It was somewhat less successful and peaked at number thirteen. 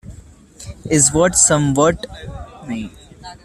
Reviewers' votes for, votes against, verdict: 0, 2, rejected